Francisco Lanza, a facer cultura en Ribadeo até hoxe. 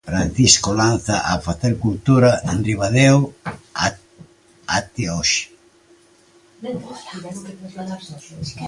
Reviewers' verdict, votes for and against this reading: rejected, 0, 2